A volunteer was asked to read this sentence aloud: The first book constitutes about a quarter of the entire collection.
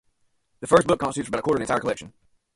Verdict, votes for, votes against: rejected, 0, 2